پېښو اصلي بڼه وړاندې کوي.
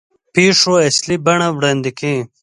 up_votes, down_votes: 1, 2